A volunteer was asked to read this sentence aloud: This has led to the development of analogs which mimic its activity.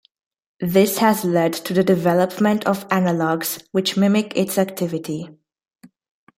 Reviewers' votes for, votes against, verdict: 2, 0, accepted